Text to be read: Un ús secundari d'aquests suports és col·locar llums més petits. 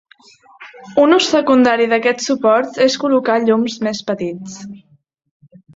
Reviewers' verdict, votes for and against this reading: accepted, 2, 1